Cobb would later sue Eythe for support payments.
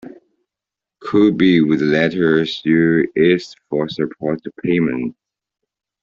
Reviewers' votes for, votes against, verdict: 1, 3, rejected